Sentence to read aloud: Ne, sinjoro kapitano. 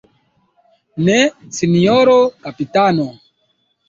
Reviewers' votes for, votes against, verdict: 2, 1, accepted